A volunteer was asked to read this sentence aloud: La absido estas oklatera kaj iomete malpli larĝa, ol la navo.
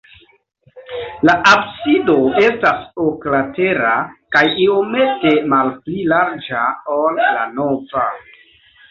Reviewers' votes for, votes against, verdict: 0, 2, rejected